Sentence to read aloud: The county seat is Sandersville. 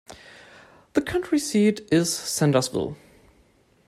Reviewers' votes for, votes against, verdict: 0, 2, rejected